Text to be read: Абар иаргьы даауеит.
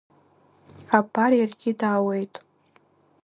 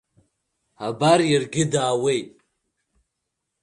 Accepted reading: second